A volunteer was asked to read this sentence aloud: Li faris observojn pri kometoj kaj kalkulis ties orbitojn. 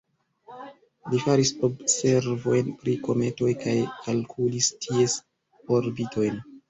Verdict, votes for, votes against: rejected, 1, 2